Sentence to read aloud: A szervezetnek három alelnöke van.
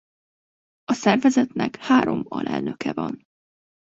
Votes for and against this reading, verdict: 2, 0, accepted